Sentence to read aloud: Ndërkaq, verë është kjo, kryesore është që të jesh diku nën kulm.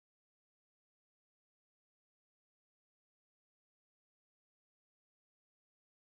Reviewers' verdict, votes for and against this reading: rejected, 0, 2